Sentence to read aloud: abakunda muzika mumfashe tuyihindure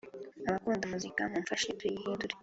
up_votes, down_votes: 3, 0